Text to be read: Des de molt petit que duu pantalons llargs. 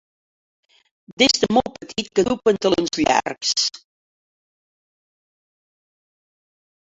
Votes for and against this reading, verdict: 1, 2, rejected